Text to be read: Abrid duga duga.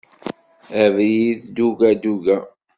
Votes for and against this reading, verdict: 2, 0, accepted